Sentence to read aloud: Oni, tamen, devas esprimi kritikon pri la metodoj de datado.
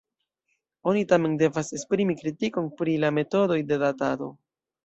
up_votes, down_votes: 1, 2